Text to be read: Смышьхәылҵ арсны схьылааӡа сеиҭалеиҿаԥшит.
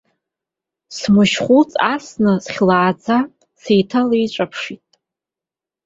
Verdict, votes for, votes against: rejected, 1, 2